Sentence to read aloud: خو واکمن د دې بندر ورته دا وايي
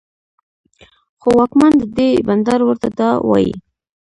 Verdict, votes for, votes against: rejected, 1, 2